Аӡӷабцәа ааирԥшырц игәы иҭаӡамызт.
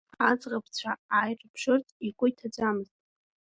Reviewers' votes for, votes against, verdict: 2, 1, accepted